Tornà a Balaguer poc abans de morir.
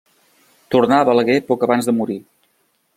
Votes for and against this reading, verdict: 2, 0, accepted